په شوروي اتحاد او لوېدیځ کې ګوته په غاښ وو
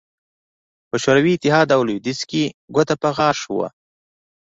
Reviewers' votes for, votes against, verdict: 2, 0, accepted